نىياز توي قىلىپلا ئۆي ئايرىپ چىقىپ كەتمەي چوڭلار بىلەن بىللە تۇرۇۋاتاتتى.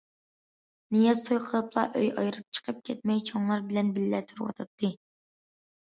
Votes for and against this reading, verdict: 2, 0, accepted